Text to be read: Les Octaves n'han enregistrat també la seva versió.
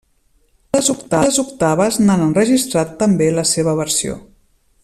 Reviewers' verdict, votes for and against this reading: rejected, 0, 2